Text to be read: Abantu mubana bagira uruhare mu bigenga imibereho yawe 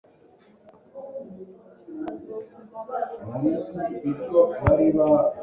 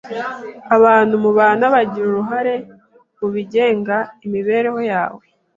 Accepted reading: second